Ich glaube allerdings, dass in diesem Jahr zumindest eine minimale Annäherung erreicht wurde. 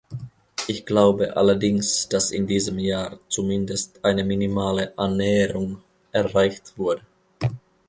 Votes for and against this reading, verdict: 1, 2, rejected